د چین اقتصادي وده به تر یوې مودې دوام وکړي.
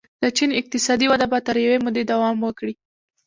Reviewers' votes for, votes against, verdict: 2, 0, accepted